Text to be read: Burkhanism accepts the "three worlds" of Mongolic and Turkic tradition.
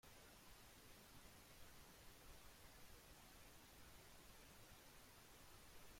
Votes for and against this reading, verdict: 0, 2, rejected